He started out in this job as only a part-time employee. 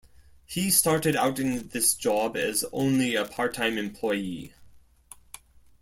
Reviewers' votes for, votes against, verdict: 2, 0, accepted